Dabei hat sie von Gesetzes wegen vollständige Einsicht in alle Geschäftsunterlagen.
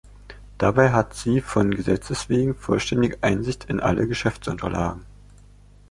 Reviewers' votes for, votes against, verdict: 2, 0, accepted